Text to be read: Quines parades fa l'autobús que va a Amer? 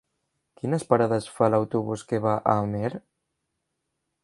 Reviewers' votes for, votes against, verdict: 3, 0, accepted